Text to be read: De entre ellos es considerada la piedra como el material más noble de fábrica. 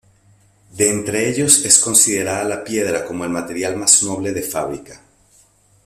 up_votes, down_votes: 2, 0